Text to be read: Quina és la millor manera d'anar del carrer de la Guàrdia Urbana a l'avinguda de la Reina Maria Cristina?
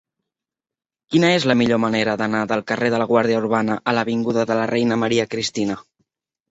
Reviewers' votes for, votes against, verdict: 4, 0, accepted